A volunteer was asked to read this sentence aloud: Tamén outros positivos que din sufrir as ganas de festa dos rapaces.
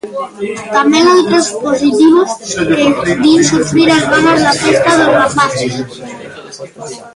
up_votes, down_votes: 0, 2